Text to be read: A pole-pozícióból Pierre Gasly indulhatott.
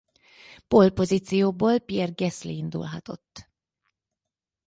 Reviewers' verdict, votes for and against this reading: rejected, 0, 4